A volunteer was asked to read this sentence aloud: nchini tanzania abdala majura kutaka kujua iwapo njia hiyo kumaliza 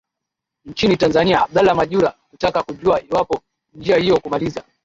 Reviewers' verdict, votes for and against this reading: accepted, 2, 1